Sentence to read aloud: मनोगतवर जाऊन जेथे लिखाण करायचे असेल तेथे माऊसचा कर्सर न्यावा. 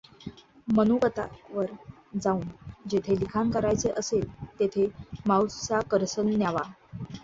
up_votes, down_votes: 0, 2